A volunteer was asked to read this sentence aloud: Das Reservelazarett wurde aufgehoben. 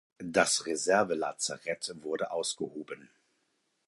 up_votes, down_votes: 0, 4